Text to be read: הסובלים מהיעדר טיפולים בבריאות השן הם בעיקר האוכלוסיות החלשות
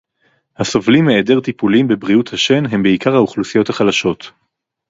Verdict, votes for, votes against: accepted, 4, 0